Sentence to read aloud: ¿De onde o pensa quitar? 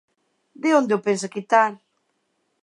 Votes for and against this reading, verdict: 2, 0, accepted